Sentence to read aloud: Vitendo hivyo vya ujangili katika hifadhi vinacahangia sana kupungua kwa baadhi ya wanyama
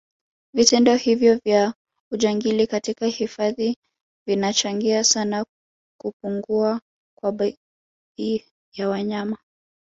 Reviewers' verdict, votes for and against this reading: rejected, 2, 3